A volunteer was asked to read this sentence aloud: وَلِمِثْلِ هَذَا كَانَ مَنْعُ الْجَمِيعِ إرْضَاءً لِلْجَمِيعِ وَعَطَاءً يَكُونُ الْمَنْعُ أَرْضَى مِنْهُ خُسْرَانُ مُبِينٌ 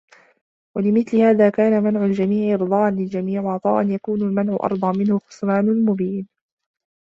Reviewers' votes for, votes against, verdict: 1, 2, rejected